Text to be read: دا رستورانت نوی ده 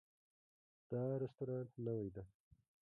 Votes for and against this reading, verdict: 1, 2, rejected